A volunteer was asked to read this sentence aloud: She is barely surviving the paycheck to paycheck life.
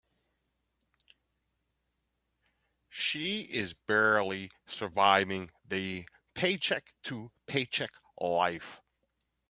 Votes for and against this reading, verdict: 2, 0, accepted